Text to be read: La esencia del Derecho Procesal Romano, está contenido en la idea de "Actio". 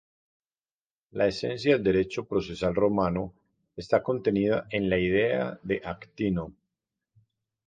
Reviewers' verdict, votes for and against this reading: rejected, 0, 2